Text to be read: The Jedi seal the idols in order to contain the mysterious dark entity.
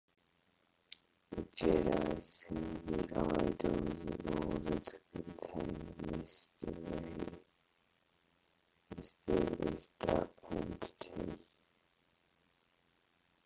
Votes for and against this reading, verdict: 0, 4, rejected